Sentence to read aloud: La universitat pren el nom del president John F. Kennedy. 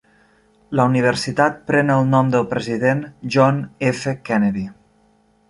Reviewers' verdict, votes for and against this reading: rejected, 0, 2